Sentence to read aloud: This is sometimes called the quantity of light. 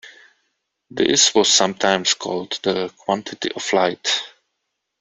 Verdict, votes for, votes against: rejected, 0, 2